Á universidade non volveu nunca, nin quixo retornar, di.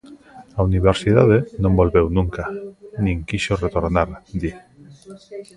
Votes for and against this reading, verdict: 1, 2, rejected